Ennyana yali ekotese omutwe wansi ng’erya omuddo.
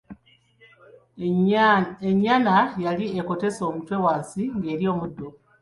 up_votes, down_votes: 1, 2